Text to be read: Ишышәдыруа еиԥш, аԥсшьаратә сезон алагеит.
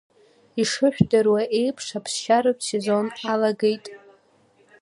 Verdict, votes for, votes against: accepted, 2, 0